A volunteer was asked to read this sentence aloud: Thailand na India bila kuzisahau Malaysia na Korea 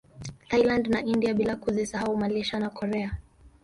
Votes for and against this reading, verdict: 0, 2, rejected